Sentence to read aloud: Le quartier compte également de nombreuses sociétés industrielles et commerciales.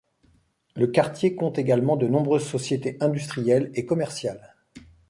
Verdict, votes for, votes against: accepted, 2, 0